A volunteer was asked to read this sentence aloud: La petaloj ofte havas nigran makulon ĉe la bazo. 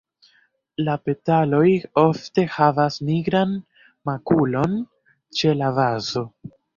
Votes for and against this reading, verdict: 0, 2, rejected